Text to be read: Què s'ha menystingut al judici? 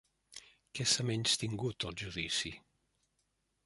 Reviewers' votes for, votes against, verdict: 0, 2, rejected